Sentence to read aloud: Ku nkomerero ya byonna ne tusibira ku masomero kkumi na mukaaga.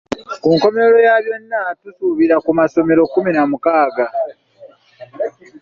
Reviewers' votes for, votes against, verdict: 0, 2, rejected